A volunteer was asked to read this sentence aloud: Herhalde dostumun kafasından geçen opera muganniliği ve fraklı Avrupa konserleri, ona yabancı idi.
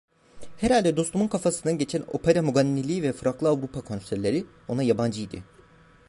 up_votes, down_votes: 2, 1